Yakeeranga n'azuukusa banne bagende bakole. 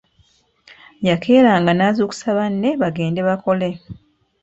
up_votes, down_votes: 3, 0